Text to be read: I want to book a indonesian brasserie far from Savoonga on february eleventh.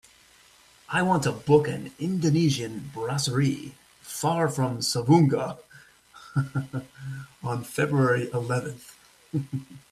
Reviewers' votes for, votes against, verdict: 2, 1, accepted